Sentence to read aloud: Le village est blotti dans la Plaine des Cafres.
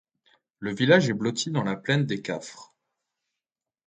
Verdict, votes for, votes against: accepted, 2, 0